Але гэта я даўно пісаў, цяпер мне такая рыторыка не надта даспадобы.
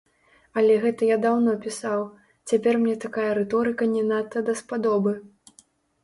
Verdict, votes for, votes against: rejected, 0, 2